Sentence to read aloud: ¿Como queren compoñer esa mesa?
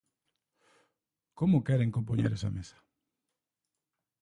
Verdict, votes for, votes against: accepted, 2, 1